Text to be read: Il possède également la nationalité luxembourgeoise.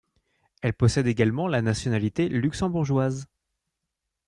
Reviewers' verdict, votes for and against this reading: rejected, 1, 2